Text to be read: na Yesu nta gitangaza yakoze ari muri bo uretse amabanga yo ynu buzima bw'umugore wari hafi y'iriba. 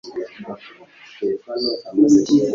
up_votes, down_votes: 2, 1